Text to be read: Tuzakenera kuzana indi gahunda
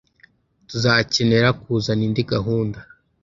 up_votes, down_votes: 2, 0